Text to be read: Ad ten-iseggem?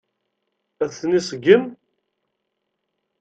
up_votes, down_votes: 2, 0